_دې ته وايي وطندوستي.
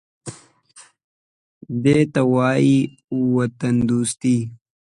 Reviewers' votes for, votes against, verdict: 2, 0, accepted